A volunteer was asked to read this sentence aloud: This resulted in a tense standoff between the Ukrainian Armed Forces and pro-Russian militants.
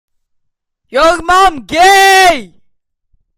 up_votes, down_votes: 0, 2